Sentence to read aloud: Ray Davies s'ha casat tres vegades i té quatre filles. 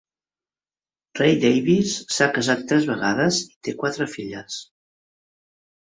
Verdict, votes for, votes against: rejected, 0, 2